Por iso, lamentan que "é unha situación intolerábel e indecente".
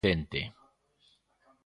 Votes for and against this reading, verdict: 0, 2, rejected